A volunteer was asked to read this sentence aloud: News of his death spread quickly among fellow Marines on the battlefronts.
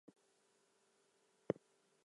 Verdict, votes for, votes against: rejected, 0, 2